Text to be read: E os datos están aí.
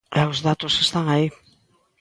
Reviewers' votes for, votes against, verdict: 2, 0, accepted